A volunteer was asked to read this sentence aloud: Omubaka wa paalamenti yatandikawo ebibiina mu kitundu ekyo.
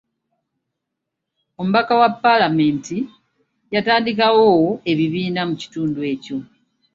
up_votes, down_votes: 2, 0